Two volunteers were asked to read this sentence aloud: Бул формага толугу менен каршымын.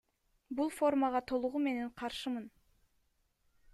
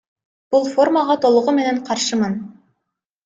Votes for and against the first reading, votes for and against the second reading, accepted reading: 2, 0, 1, 2, first